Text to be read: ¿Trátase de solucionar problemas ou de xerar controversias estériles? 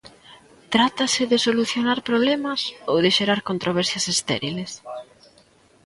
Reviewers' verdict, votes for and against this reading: accepted, 2, 0